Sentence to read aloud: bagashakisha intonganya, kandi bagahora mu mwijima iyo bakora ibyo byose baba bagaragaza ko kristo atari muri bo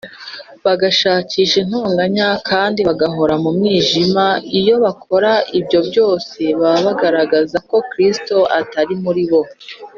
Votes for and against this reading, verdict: 3, 0, accepted